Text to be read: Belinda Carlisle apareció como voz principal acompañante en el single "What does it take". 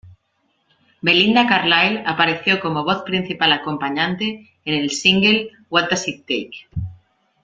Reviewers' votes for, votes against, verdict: 0, 2, rejected